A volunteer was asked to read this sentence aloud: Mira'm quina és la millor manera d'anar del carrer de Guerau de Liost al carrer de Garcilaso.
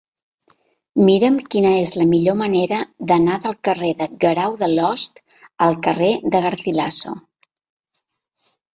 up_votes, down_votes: 1, 2